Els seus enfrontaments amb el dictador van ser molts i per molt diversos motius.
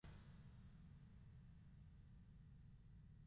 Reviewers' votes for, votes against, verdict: 1, 2, rejected